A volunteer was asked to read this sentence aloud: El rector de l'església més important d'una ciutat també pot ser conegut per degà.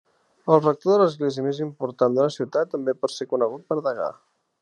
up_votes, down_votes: 2, 0